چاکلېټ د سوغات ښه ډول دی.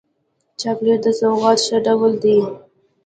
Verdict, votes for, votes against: rejected, 1, 2